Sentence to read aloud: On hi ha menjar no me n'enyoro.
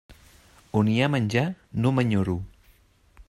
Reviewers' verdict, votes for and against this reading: rejected, 0, 2